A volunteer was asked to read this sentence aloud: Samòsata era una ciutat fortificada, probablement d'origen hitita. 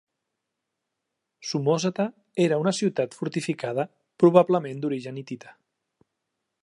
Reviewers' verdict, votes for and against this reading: accepted, 2, 1